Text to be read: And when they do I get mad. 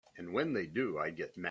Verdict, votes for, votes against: rejected, 2, 3